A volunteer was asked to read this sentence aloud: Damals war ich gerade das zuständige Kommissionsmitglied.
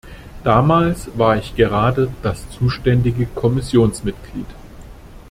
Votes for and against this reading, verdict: 2, 0, accepted